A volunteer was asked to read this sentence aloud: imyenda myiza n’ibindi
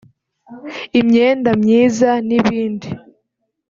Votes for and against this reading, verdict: 4, 0, accepted